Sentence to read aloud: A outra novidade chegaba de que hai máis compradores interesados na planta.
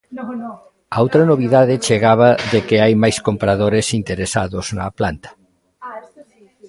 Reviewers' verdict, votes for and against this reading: rejected, 1, 2